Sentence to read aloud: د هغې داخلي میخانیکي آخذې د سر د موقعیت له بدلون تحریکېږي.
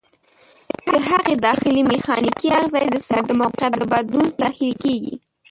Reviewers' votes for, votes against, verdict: 0, 2, rejected